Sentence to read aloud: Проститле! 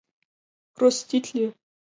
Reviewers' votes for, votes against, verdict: 2, 0, accepted